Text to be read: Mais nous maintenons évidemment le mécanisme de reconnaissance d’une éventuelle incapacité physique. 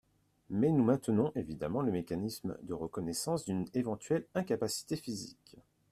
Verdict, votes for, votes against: accepted, 2, 0